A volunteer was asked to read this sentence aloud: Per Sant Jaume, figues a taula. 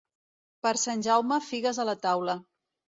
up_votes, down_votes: 1, 3